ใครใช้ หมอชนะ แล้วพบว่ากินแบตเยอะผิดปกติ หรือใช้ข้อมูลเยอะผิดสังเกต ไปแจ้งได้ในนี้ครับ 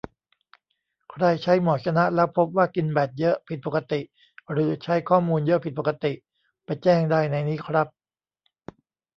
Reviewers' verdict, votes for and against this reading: rejected, 0, 2